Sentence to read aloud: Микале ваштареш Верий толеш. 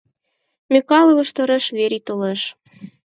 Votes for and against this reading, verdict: 0, 4, rejected